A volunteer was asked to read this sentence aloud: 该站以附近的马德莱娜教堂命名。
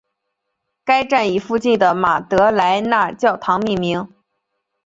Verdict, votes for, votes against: accepted, 2, 0